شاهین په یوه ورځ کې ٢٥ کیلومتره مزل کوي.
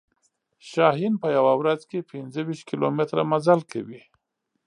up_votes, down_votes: 0, 2